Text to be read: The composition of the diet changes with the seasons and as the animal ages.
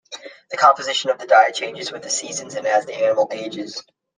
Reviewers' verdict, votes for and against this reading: accepted, 2, 0